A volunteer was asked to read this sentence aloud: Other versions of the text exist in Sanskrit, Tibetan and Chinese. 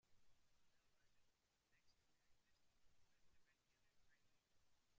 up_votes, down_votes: 0, 2